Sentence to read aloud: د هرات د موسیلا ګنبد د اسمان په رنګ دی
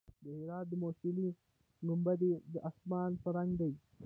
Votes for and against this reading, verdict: 1, 2, rejected